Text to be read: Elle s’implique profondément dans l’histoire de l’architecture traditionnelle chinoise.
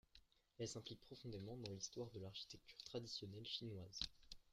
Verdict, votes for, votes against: accepted, 2, 0